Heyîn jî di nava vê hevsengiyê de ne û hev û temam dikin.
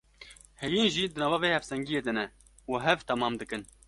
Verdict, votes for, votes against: accepted, 2, 0